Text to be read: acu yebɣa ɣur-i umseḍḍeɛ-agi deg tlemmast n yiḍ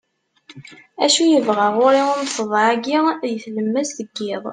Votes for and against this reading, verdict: 2, 0, accepted